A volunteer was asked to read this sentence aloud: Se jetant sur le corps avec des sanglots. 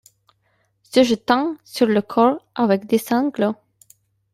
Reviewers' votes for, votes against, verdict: 2, 0, accepted